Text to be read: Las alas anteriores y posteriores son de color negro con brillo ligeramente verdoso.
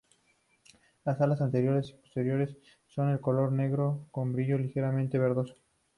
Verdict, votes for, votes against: accepted, 2, 0